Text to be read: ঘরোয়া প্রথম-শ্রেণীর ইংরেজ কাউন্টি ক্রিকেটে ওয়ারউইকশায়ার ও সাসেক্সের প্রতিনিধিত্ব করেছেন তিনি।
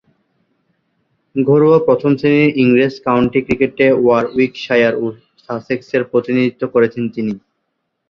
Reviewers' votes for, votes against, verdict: 0, 4, rejected